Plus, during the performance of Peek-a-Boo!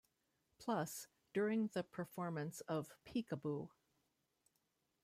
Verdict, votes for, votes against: accepted, 2, 0